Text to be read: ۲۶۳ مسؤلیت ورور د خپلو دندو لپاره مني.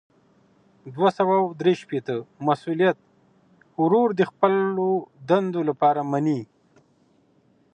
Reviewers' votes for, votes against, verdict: 0, 2, rejected